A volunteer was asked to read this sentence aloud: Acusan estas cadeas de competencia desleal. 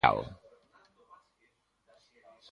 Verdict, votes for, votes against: rejected, 0, 2